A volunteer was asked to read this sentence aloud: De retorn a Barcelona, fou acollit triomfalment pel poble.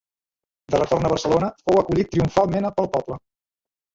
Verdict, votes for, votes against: rejected, 0, 2